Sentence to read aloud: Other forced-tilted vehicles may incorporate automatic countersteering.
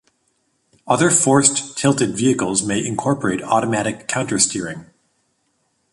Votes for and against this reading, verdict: 2, 0, accepted